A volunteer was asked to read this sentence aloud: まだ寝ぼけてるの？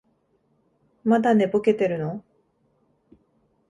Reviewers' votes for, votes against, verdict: 2, 0, accepted